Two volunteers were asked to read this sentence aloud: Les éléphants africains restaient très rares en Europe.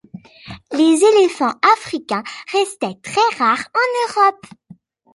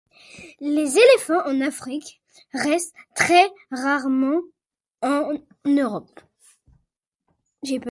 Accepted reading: first